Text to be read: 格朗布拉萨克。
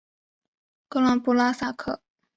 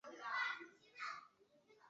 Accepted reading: first